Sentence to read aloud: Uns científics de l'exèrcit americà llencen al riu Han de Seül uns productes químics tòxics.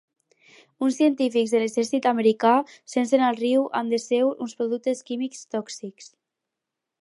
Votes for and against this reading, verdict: 2, 4, rejected